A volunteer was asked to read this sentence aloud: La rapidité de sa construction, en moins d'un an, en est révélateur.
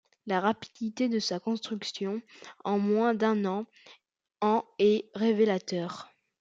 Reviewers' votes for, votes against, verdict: 2, 0, accepted